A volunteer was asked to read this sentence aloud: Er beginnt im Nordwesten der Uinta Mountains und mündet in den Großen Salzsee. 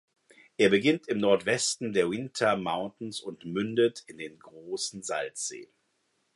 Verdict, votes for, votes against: accepted, 2, 0